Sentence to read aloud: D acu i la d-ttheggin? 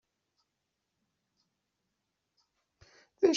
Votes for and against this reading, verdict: 1, 2, rejected